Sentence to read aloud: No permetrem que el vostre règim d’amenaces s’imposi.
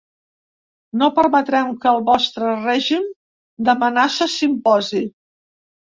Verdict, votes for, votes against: accepted, 2, 0